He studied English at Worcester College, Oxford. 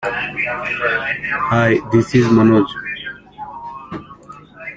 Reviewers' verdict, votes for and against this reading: rejected, 0, 2